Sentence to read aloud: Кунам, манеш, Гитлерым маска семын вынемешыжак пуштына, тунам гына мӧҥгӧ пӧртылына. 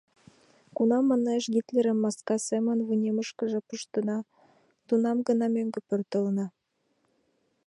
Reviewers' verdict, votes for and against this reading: rejected, 0, 2